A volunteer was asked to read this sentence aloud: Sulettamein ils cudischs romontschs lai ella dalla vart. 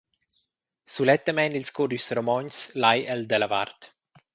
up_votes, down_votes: 0, 2